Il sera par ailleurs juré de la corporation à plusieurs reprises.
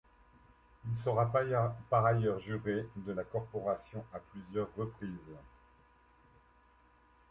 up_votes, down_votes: 0, 2